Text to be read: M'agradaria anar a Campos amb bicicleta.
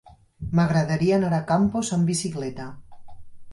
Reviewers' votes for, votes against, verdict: 0, 4, rejected